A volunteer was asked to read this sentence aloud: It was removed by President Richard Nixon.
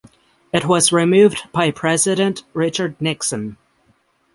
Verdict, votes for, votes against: accepted, 6, 0